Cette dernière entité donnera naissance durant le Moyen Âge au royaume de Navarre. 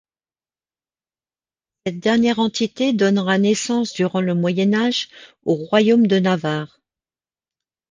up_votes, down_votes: 1, 2